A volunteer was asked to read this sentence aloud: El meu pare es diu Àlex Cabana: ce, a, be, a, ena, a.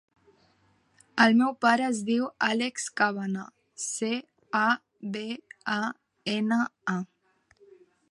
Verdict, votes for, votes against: rejected, 0, 2